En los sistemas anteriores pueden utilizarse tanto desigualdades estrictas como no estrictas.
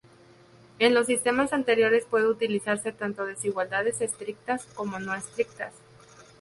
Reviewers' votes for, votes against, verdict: 0, 4, rejected